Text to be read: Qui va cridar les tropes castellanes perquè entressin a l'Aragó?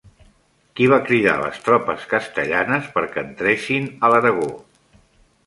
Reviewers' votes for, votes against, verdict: 2, 0, accepted